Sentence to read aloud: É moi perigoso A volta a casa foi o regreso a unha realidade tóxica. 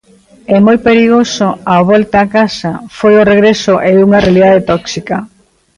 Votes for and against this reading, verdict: 0, 2, rejected